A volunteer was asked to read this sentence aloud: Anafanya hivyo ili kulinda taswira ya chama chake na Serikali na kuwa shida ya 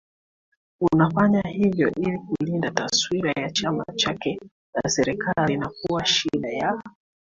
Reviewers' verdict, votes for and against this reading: accepted, 3, 2